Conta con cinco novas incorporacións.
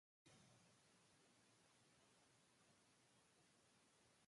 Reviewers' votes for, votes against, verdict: 0, 2, rejected